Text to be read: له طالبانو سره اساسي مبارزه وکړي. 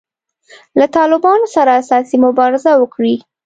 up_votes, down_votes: 2, 0